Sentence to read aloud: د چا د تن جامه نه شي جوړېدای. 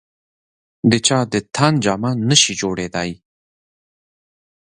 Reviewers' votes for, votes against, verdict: 2, 1, accepted